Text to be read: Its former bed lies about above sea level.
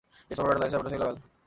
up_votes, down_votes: 0, 3